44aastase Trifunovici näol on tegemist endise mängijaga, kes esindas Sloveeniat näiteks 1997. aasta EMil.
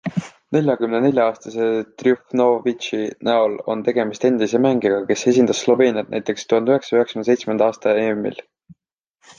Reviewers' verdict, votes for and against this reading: rejected, 0, 2